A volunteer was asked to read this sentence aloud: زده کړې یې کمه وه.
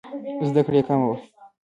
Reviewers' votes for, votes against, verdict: 0, 2, rejected